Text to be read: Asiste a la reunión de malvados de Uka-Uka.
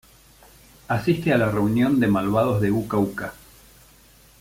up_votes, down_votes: 1, 2